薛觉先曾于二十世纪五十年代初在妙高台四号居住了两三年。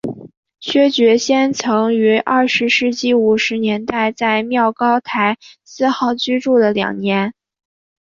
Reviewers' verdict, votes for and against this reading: rejected, 2, 3